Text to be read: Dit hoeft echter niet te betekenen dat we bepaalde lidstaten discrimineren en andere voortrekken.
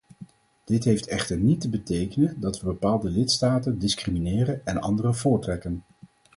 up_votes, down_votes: 2, 4